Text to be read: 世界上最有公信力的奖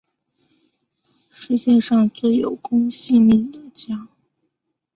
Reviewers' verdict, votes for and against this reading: accepted, 7, 0